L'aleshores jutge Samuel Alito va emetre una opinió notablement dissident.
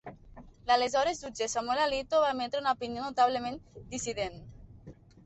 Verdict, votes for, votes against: accepted, 2, 0